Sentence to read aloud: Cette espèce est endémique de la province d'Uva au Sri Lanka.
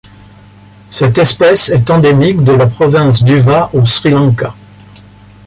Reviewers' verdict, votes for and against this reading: accepted, 2, 1